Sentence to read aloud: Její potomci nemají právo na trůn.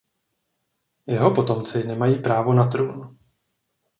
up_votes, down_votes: 0, 2